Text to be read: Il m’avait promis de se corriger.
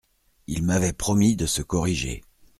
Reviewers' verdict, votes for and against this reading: accepted, 2, 0